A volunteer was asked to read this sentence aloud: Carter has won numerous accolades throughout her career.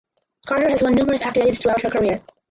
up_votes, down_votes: 0, 4